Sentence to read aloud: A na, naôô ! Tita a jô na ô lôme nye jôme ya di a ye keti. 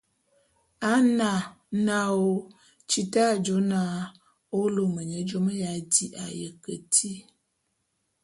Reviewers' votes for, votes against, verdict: 2, 0, accepted